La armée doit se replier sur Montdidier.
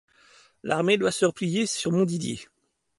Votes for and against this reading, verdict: 2, 0, accepted